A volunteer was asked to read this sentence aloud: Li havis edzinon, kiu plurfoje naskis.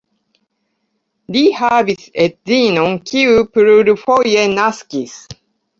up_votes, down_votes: 2, 1